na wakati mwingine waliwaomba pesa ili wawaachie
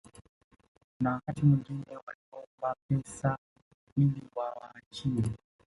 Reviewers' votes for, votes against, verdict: 1, 2, rejected